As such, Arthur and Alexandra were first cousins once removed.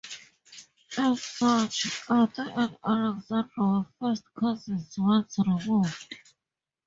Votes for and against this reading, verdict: 2, 0, accepted